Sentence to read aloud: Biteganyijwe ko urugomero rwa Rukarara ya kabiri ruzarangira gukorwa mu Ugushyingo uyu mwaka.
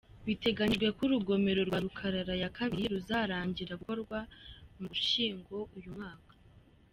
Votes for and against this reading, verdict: 2, 0, accepted